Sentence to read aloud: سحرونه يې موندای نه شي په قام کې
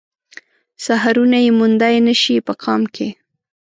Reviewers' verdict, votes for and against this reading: accepted, 2, 0